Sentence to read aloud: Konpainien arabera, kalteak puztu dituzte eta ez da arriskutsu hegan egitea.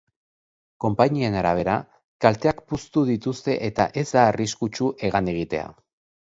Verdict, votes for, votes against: accepted, 2, 0